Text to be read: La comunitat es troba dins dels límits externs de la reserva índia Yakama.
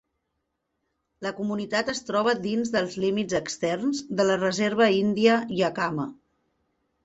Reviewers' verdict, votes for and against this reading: accepted, 6, 0